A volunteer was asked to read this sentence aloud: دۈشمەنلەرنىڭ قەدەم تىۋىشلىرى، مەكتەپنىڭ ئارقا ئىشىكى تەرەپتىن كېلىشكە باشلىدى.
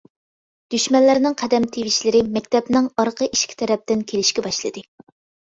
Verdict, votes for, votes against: accepted, 2, 0